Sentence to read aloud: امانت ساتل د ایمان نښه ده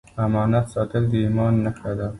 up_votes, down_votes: 1, 2